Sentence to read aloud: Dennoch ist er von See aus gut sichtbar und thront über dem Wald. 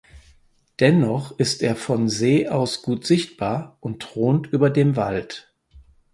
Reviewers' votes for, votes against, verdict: 4, 0, accepted